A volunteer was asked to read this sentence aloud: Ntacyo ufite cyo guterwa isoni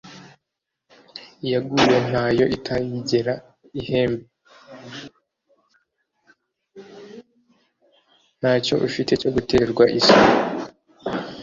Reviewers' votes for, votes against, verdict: 1, 2, rejected